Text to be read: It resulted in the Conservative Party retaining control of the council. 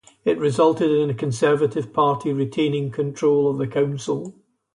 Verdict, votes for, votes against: accepted, 2, 0